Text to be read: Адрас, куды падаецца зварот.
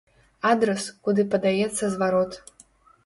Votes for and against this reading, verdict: 3, 0, accepted